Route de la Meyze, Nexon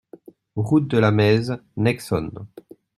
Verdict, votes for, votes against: rejected, 1, 2